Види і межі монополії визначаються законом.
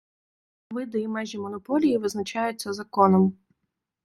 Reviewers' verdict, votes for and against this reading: accepted, 2, 0